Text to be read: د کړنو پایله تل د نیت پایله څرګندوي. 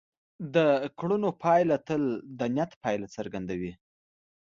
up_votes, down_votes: 2, 0